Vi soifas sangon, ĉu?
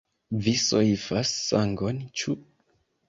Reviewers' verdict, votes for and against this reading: accepted, 2, 0